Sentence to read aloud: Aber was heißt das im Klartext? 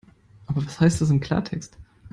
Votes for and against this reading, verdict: 1, 2, rejected